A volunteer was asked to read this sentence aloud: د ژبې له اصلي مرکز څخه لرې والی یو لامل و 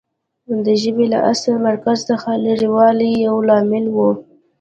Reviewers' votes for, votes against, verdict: 1, 2, rejected